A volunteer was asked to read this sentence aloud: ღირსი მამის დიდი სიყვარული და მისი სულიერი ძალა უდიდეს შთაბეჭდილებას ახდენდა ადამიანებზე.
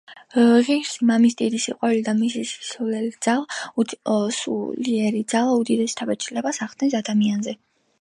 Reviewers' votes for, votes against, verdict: 0, 2, rejected